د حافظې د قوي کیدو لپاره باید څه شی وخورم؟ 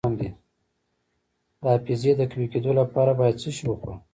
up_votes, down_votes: 2, 1